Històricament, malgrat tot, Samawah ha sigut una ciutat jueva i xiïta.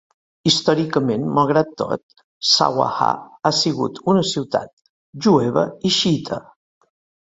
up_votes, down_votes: 0, 2